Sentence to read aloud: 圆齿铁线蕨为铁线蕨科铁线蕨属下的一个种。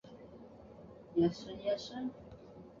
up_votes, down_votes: 0, 2